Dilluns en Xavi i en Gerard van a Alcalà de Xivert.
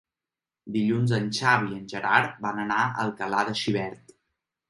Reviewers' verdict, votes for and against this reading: rejected, 1, 2